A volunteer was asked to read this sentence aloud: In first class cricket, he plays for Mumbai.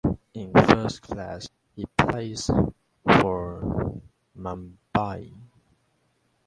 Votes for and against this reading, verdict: 0, 2, rejected